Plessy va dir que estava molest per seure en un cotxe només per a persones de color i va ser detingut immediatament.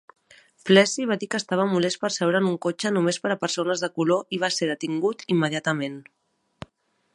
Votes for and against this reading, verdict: 2, 0, accepted